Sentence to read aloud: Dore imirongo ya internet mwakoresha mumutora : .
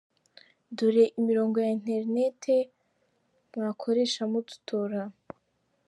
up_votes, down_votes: 0, 2